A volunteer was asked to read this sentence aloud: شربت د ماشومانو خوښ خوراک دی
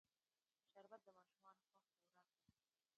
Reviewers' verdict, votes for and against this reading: rejected, 0, 2